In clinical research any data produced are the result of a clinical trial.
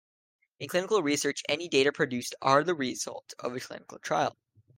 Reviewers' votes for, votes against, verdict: 2, 0, accepted